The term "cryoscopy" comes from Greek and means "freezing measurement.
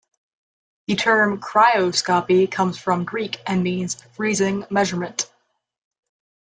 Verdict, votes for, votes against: accepted, 2, 0